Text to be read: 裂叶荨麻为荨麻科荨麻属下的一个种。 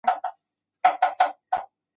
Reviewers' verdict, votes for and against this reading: rejected, 0, 4